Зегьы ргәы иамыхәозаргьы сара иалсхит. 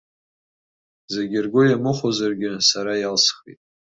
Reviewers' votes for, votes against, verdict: 2, 0, accepted